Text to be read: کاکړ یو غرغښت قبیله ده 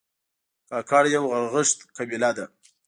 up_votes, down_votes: 2, 0